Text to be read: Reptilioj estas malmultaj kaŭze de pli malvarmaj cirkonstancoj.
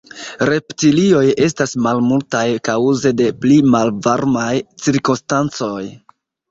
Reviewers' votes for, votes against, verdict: 1, 2, rejected